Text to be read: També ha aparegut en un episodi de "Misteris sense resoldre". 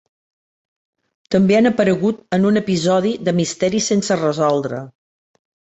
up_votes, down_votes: 0, 2